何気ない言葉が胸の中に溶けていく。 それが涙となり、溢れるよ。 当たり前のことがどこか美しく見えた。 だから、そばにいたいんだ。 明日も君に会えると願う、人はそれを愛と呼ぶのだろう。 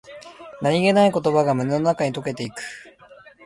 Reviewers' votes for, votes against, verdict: 0, 2, rejected